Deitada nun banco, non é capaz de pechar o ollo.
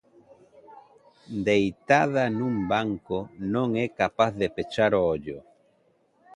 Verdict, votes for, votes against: accepted, 2, 1